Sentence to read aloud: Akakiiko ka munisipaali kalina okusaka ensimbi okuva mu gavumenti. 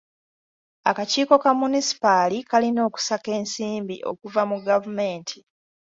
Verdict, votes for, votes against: accepted, 2, 1